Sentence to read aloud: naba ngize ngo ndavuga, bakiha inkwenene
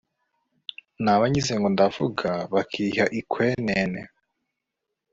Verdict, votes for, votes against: rejected, 1, 2